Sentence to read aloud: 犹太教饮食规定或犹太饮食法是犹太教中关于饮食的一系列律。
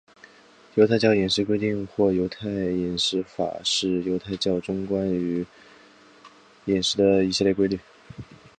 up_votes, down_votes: 2, 4